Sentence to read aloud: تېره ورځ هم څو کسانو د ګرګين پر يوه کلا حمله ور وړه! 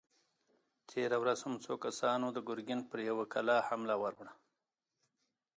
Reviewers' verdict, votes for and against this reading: accepted, 3, 0